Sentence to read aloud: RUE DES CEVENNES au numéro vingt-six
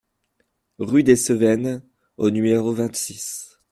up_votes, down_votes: 0, 2